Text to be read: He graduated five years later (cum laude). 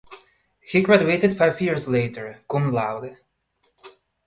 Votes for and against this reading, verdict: 2, 0, accepted